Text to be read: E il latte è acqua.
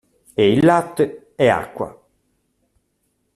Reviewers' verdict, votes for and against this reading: accepted, 2, 0